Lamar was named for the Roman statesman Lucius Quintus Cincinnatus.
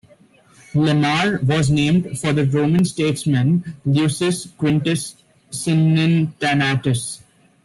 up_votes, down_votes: 1, 2